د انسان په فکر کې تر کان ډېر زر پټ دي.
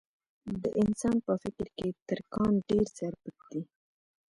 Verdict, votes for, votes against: accepted, 2, 0